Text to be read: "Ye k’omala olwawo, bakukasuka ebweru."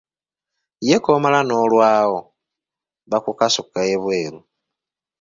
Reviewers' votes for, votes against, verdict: 1, 2, rejected